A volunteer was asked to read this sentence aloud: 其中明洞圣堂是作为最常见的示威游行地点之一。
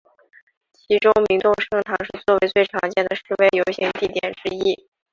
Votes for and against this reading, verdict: 0, 2, rejected